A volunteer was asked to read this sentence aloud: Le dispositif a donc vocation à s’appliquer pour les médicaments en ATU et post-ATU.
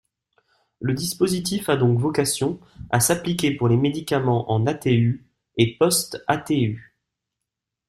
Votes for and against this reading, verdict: 2, 1, accepted